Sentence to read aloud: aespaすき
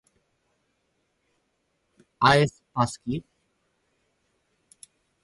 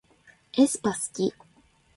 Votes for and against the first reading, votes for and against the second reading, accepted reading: 2, 4, 2, 1, second